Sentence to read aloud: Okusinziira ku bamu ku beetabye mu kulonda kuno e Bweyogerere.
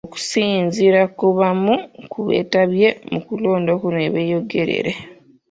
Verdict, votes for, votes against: rejected, 0, 2